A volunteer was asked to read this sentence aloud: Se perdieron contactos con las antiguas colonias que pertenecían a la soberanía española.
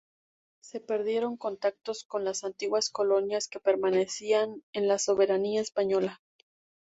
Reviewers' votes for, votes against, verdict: 0, 2, rejected